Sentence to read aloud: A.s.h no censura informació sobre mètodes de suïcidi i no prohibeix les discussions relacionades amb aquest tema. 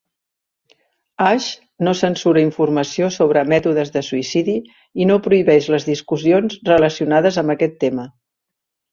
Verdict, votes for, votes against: accepted, 4, 0